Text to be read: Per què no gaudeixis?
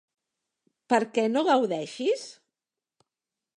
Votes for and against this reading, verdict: 3, 0, accepted